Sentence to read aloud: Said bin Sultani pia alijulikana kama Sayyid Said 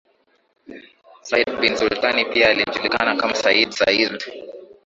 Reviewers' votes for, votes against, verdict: 6, 1, accepted